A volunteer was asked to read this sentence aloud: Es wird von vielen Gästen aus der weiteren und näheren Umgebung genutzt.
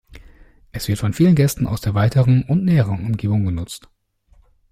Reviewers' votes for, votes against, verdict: 2, 0, accepted